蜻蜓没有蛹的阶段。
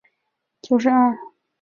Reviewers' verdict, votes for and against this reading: rejected, 0, 2